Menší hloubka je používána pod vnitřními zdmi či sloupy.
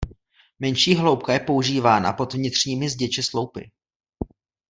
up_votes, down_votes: 1, 2